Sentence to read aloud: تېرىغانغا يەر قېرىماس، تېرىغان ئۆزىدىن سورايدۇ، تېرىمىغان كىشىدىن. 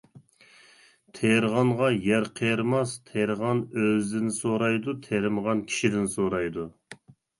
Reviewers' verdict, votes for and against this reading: rejected, 0, 2